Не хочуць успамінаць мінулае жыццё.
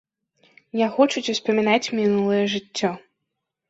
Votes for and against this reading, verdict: 2, 0, accepted